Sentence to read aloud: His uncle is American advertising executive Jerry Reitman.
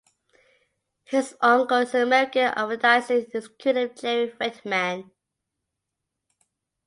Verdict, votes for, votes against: accepted, 2, 0